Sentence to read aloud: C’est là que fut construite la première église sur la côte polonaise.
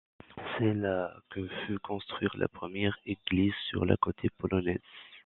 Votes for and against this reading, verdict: 1, 2, rejected